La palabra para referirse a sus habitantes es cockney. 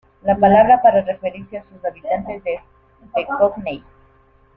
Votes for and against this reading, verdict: 2, 1, accepted